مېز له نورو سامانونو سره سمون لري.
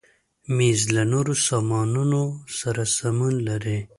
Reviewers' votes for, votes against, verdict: 2, 0, accepted